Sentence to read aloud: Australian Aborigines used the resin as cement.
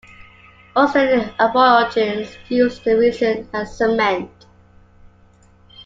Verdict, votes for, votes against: rejected, 0, 3